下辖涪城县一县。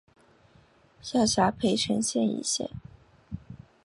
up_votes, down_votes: 3, 0